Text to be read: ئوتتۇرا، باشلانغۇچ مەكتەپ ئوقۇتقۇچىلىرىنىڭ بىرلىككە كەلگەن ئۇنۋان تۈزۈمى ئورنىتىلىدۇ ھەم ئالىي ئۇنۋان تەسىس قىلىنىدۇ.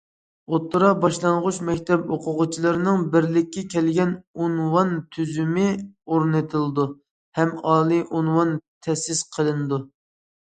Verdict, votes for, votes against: rejected, 0, 2